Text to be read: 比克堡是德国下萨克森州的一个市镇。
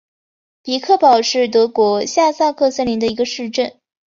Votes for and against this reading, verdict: 3, 3, rejected